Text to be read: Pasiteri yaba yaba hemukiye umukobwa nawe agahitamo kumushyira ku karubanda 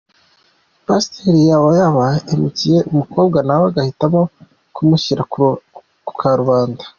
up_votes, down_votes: 2, 0